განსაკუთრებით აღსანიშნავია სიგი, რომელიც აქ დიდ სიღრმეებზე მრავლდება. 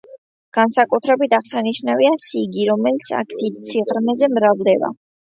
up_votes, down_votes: 0, 2